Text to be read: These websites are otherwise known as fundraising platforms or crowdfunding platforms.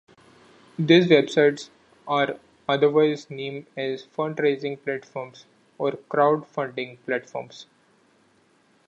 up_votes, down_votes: 2, 1